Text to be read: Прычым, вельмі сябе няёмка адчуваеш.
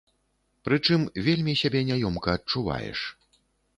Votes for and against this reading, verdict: 2, 0, accepted